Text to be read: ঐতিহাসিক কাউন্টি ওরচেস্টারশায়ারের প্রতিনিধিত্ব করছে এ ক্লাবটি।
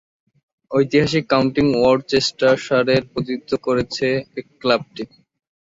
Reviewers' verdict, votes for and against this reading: rejected, 0, 2